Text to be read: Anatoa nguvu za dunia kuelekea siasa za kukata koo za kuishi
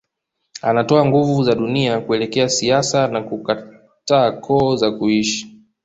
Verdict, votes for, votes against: accepted, 2, 0